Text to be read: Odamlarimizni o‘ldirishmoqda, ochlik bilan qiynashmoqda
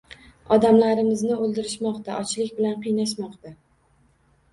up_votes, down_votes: 2, 0